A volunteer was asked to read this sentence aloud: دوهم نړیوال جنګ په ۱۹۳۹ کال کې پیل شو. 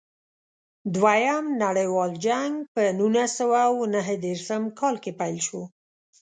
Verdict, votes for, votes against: rejected, 0, 2